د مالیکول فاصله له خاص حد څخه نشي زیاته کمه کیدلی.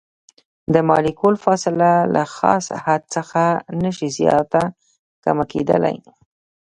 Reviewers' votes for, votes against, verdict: 2, 1, accepted